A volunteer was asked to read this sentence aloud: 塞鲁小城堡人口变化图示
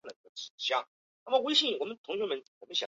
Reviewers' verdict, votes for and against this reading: rejected, 0, 3